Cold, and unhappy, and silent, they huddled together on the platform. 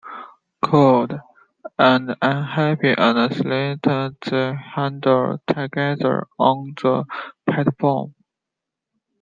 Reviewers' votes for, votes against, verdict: 0, 2, rejected